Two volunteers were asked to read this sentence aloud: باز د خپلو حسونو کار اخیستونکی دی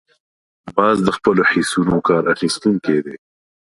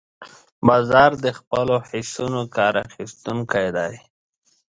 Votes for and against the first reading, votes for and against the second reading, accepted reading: 5, 0, 1, 2, first